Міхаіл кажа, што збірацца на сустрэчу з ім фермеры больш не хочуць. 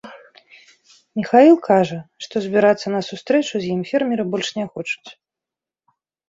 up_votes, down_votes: 2, 0